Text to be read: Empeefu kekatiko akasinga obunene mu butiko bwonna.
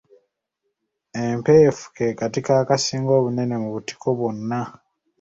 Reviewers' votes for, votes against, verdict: 2, 0, accepted